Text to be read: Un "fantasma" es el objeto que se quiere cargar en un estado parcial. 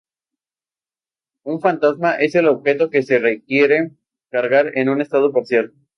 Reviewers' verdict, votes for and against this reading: rejected, 0, 2